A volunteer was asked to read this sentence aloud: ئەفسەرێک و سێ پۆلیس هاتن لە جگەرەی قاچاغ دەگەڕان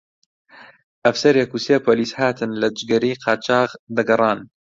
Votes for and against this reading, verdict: 2, 0, accepted